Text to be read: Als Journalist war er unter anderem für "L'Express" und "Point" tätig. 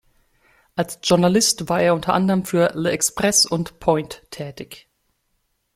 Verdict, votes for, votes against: rejected, 1, 2